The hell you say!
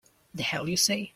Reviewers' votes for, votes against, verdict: 2, 0, accepted